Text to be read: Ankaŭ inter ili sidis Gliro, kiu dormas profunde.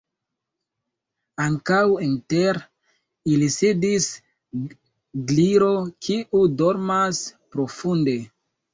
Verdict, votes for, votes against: rejected, 0, 2